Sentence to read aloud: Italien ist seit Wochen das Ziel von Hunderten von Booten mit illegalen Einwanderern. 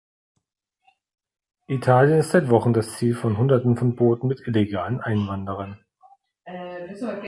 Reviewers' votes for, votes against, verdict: 2, 0, accepted